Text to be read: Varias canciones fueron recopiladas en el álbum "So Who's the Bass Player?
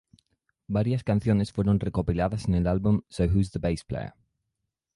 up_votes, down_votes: 0, 2